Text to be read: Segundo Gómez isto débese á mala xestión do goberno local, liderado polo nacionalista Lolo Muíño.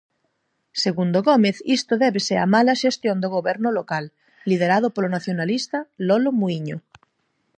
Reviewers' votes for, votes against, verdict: 4, 0, accepted